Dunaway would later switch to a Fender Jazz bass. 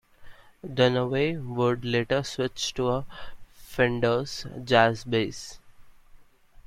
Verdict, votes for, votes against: rejected, 1, 2